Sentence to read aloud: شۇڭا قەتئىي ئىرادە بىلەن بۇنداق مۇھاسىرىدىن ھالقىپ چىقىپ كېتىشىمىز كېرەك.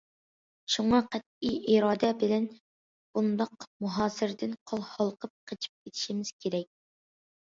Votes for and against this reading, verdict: 0, 2, rejected